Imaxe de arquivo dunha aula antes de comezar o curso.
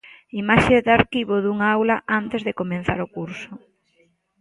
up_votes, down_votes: 1, 2